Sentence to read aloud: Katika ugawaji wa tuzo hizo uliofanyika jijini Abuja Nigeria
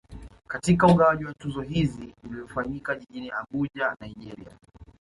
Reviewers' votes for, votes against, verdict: 0, 2, rejected